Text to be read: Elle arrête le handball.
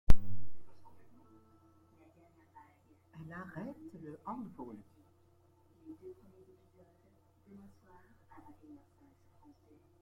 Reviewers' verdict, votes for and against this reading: rejected, 1, 2